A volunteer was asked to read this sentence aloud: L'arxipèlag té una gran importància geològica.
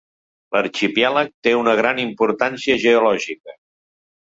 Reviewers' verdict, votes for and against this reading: rejected, 1, 2